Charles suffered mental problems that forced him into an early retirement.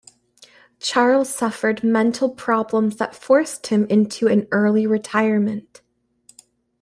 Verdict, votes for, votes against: accepted, 2, 0